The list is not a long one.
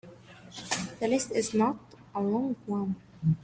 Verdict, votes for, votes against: accepted, 2, 1